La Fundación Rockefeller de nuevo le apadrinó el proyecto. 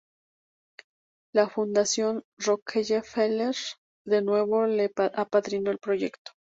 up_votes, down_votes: 0, 2